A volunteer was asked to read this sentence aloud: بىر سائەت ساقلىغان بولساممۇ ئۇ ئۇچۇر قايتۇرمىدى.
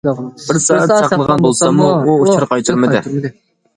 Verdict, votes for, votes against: rejected, 0, 2